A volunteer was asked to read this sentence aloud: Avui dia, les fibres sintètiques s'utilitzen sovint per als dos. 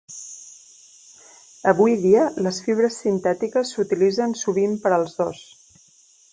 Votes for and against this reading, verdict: 3, 0, accepted